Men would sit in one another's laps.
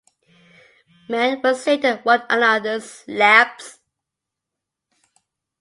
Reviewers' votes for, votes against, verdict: 1, 2, rejected